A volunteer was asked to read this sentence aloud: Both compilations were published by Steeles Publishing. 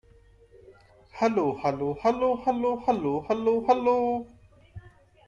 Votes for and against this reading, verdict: 0, 2, rejected